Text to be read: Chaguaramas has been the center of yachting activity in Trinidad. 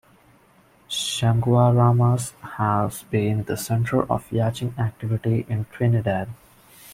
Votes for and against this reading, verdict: 0, 2, rejected